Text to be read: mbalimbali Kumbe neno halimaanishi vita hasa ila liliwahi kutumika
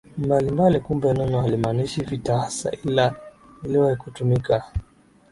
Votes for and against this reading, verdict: 16, 4, accepted